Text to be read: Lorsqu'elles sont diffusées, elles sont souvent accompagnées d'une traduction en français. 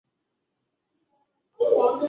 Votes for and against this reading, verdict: 0, 2, rejected